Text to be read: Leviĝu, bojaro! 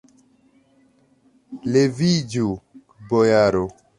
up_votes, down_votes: 2, 1